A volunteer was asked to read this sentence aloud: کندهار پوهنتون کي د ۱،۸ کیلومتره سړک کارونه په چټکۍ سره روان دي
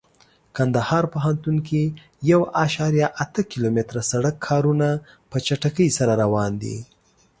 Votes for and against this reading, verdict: 0, 2, rejected